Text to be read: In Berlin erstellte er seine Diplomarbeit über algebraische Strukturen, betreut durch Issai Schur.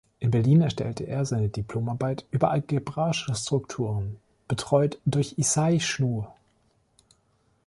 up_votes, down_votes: 1, 2